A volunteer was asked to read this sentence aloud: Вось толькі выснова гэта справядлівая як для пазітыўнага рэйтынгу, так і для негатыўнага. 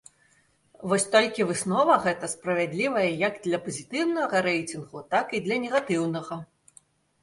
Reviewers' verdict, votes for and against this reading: rejected, 0, 2